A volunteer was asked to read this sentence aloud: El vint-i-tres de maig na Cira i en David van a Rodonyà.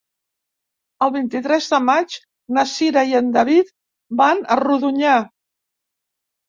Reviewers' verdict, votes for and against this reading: accepted, 3, 0